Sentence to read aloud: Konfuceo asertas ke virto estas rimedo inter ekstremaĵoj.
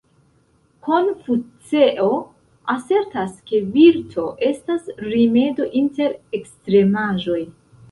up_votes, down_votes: 0, 2